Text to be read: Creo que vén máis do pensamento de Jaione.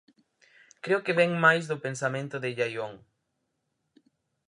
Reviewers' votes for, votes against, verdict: 2, 2, rejected